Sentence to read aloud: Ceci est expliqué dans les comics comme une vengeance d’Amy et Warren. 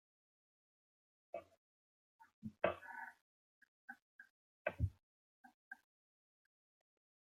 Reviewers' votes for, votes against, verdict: 0, 2, rejected